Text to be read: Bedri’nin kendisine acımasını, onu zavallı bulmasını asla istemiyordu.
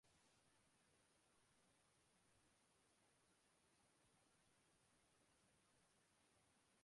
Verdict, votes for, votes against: rejected, 0, 2